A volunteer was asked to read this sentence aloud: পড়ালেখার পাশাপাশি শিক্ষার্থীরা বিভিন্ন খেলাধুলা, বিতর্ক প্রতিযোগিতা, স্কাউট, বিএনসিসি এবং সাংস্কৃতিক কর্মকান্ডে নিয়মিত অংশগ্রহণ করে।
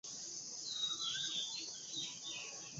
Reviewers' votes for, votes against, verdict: 0, 12, rejected